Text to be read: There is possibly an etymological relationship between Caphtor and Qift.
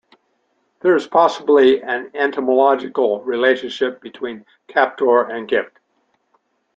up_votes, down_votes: 1, 2